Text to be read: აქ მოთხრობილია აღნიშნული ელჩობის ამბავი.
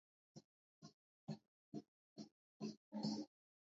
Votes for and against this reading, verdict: 0, 2, rejected